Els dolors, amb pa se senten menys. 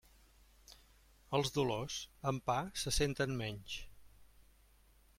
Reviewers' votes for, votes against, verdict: 2, 0, accepted